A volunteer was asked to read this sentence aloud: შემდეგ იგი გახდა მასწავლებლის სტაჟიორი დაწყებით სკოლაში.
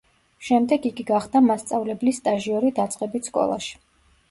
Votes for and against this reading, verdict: 2, 0, accepted